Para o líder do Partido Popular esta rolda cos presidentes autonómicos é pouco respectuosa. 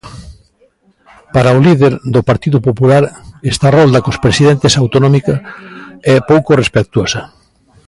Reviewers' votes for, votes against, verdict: 1, 2, rejected